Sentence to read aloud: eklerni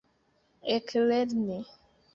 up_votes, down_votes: 2, 0